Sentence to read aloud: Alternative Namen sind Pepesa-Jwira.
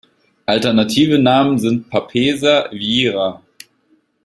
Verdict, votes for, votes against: rejected, 1, 2